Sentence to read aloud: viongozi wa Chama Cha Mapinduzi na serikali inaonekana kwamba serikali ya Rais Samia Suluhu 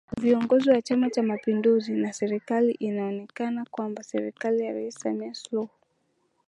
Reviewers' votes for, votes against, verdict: 2, 0, accepted